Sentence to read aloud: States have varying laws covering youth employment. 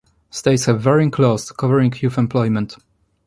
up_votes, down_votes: 1, 2